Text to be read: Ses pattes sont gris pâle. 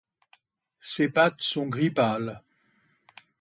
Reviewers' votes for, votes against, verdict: 2, 0, accepted